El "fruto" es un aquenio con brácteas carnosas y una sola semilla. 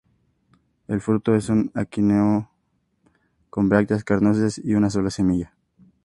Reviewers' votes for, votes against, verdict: 2, 0, accepted